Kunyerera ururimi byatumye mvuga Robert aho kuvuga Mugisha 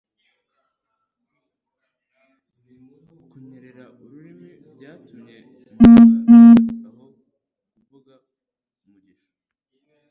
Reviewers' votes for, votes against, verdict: 1, 2, rejected